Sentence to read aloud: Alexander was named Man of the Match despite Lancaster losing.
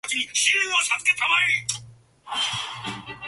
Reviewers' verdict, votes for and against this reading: rejected, 0, 2